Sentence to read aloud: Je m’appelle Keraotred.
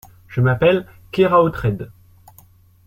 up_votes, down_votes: 2, 0